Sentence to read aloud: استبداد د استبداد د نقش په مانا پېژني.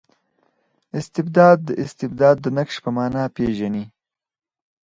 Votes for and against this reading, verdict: 4, 0, accepted